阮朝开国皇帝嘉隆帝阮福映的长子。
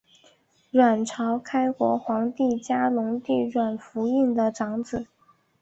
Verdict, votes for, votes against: accepted, 3, 1